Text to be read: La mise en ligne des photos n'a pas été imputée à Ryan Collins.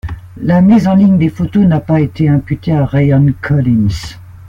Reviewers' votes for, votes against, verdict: 2, 0, accepted